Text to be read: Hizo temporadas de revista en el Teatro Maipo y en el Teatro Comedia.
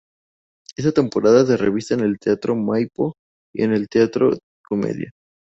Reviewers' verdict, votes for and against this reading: accepted, 2, 0